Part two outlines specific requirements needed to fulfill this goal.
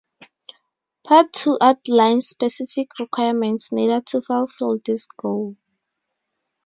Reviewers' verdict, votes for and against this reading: accepted, 2, 0